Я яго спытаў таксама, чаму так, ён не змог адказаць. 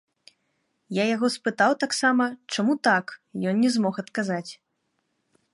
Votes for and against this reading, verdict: 2, 0, accepted